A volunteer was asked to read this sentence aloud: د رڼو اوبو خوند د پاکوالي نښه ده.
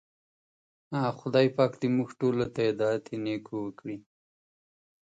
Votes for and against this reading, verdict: 0, 2, rejected